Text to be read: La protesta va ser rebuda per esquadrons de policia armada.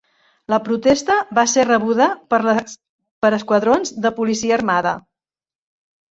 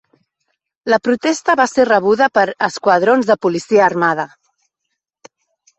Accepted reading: second